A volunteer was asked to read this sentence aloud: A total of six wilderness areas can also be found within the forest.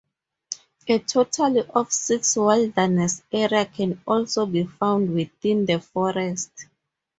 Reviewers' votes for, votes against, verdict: 0, 2, rejected